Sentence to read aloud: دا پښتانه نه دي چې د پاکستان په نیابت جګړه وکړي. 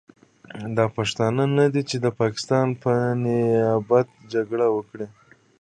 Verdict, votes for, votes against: rejected, 1, 2